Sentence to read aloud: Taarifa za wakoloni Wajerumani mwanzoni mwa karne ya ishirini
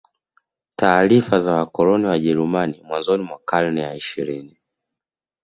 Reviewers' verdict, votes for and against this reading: accepted, 2, 0